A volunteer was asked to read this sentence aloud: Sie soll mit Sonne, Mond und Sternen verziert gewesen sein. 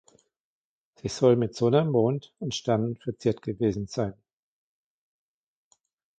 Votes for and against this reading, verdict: 2, 0, accepted